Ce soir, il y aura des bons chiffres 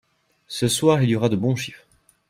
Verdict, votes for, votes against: rejected, 1, 2